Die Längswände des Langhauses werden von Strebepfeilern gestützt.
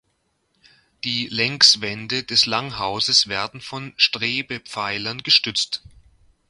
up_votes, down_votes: 2, 0